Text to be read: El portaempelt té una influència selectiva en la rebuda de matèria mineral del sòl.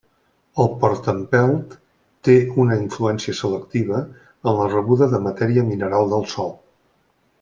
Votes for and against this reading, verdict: 2, 0, accepted